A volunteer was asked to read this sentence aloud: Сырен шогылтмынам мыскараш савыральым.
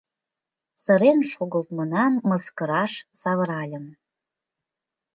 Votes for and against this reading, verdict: 1, 2, rejected